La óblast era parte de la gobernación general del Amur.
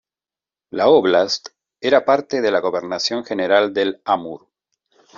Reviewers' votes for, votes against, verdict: 2, 0, accepted